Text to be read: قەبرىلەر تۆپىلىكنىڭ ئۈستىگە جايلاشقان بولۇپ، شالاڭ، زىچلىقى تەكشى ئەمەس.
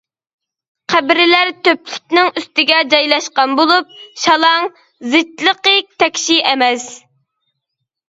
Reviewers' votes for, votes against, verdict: 0, 2, rejected